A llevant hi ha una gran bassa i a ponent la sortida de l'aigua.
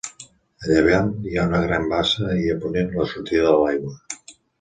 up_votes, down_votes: 1, 2